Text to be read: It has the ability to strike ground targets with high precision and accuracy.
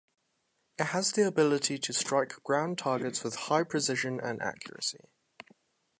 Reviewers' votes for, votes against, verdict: 2, 0, accepted